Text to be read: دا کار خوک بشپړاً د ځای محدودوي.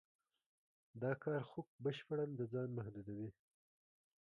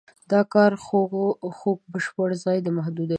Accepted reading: second